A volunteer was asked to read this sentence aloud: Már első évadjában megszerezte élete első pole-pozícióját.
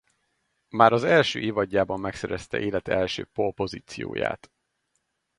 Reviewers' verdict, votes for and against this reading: rejected, 0, 2